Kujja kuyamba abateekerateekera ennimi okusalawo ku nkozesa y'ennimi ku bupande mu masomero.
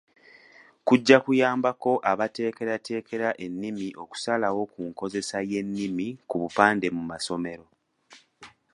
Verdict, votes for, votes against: rejected, 0, 2